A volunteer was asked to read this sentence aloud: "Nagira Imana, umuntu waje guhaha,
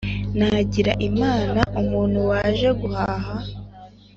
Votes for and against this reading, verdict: 2, 0, accepted